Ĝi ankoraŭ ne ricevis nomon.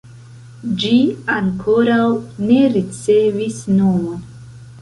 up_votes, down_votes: 0, 2